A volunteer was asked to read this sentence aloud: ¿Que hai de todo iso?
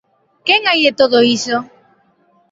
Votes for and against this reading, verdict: 0, 2, rejected